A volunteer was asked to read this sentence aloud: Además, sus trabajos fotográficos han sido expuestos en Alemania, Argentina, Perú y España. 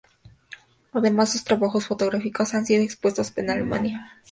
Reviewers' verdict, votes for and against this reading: rejected, 0, 4